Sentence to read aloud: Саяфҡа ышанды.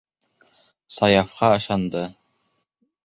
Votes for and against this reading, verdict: 2, 0, accepted